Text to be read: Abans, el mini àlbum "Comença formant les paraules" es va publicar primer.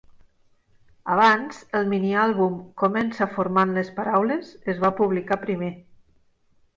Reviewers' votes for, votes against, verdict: 3, 0, accepted